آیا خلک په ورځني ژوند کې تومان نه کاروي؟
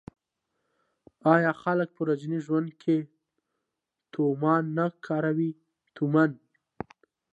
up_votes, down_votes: 1, 2